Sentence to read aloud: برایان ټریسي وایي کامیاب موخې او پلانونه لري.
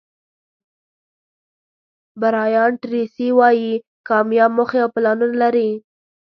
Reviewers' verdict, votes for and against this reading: accepted, 2, 1